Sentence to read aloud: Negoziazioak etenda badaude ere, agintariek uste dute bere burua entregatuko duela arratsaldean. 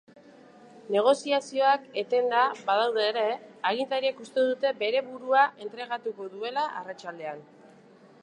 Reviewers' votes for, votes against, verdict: 4, 0, accepted